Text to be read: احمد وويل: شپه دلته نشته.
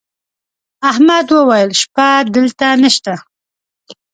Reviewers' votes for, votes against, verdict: 2, 0, accepted